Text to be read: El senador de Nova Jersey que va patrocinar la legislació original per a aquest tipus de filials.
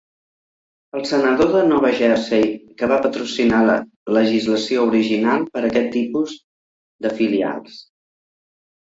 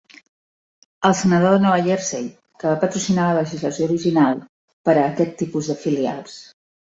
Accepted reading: first